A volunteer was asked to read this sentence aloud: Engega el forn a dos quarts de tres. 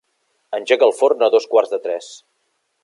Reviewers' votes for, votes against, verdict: 1, 2, rejected